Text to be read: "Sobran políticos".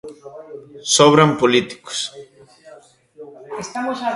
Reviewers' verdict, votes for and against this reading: rejected, 1, 4